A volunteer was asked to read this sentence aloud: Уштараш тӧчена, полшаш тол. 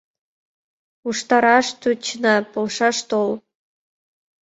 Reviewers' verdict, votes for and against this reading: accepted, 2, 0